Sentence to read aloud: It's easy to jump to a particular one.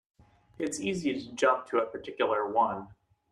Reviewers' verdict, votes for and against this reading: accepted, 2, 0